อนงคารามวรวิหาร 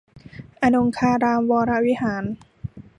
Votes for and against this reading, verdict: 2, 0, accepted